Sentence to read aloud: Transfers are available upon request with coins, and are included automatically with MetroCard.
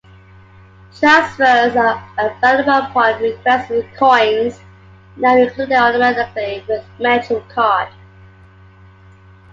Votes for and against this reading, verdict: 2, 1, accepted